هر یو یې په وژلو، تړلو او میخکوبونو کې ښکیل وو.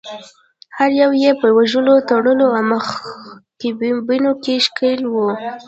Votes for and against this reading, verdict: 0, 2, rejected